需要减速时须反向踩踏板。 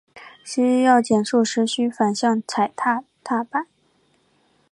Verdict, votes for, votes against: rejected, 1, 2